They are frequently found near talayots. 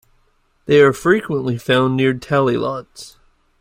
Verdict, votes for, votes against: rejected, 1, 2